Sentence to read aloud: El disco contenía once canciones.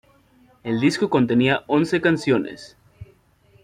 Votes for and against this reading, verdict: 2, 1, accepted